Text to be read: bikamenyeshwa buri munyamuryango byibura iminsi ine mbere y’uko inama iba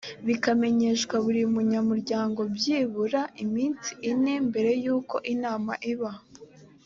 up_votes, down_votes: 3, 0